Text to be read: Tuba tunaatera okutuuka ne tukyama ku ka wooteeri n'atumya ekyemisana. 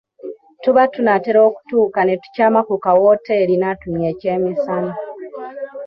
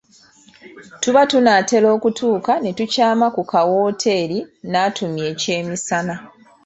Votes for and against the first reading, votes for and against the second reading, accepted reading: 1, 2, 2, 0, second